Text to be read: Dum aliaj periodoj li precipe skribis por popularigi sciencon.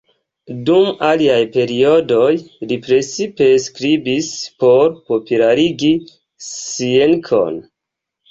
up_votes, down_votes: 1, 2